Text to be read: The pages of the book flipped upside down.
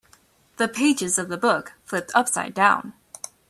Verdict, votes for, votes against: accepted, 2, 0